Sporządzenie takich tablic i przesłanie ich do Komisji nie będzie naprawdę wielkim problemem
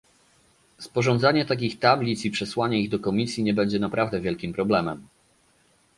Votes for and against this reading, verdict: 0, 2, rejected